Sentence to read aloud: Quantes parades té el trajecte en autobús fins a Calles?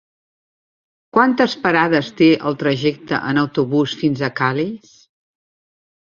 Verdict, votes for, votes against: rejected, 1, 2